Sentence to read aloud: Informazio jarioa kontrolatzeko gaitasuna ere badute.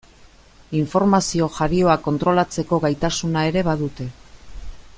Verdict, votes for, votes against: accepted, 2, 0